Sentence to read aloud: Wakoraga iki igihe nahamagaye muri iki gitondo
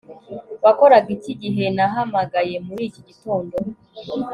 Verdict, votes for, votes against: accepted, 2, 0